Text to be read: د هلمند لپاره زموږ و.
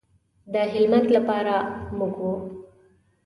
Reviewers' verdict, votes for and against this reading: accepted, 2, 0